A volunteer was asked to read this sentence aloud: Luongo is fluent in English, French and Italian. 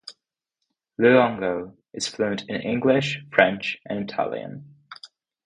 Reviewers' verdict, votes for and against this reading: accepted, 2, 0